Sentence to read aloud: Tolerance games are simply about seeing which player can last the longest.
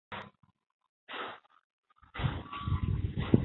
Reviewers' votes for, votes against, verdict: 0, 2, rejected